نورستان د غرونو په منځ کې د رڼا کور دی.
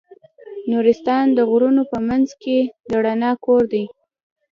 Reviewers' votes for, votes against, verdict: 0, 2, rejected